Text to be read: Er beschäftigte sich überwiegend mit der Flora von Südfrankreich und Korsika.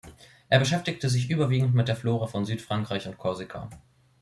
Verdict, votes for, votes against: accepted, 2, 0